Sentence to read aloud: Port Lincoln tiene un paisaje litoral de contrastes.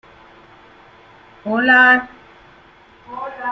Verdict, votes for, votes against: rejected, 0, 2